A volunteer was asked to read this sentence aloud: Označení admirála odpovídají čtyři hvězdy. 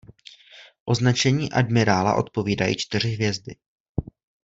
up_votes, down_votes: 2, 0